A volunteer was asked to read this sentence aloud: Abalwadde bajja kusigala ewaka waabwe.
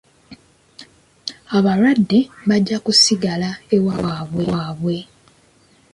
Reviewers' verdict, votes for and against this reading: rejected, 0, 2